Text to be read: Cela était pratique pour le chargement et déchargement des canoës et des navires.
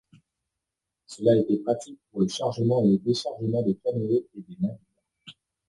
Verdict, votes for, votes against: rejected, 1, 2